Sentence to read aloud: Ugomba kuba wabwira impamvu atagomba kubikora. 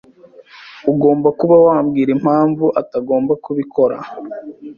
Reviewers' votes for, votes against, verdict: 2, 0, accepted